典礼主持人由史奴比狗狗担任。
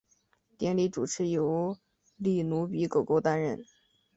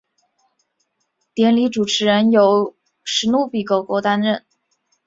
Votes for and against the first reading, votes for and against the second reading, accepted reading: 0, 2, 4, 0, second